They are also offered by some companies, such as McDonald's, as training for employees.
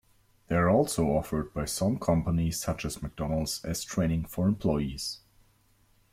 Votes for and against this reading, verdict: 1, 2, rejected